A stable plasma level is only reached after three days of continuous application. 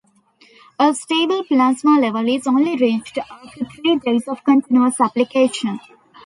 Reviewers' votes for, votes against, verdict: 1, 2, rejected